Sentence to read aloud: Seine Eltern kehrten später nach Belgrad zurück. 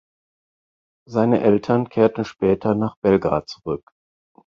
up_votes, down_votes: 4, 0